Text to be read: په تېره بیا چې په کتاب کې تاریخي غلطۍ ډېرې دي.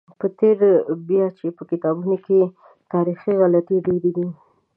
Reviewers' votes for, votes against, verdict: 0, 2, rejected